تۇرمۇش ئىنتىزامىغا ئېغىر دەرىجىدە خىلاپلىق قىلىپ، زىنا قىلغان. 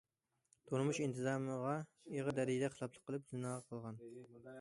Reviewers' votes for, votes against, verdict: 2, 0, accepted